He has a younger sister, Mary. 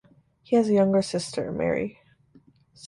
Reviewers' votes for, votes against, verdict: 2, 0, accepted